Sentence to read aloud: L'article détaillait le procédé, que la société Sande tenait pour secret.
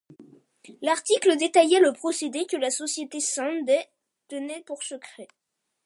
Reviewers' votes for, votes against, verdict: 2, 0, accepted